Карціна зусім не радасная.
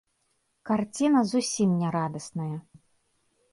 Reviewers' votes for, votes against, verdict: 1, 2, rejected